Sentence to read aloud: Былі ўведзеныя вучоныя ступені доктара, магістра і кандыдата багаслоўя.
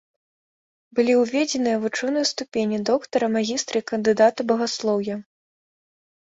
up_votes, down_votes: 2, 0